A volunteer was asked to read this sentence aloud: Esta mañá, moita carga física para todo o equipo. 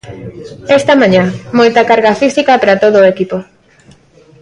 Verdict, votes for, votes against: rejected, 1, 2